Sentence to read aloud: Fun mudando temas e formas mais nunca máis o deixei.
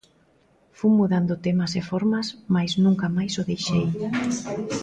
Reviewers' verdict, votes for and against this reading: rejected, 0, 2